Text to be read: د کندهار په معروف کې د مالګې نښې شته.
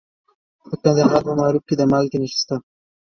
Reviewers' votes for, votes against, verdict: 2, 1, accepted